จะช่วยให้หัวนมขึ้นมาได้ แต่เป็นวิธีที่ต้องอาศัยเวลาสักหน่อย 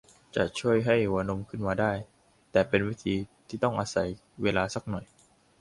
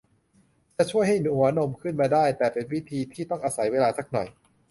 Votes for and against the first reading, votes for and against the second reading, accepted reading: 2, 0, 1, 2, first